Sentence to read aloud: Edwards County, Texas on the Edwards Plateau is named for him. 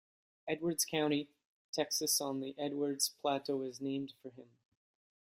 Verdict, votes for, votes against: accepted, 2, 1